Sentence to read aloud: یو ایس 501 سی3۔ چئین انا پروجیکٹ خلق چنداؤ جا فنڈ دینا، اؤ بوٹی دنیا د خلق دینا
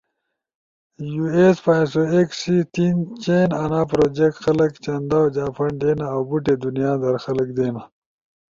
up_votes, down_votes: 0, 2